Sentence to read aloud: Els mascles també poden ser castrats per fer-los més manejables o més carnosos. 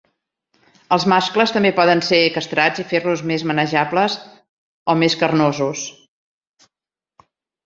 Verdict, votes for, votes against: rejected, 0, 3